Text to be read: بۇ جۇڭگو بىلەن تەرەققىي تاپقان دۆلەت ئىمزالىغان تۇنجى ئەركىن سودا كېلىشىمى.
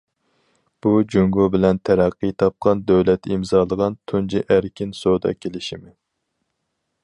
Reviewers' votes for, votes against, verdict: 4, 0, accepted